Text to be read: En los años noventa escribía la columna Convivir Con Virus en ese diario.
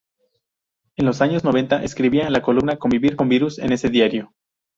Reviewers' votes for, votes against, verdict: 0, 2, rejected